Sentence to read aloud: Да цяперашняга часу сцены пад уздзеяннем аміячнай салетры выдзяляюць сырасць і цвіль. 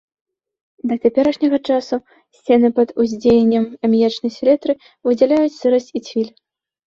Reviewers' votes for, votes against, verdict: 0, 2, rejected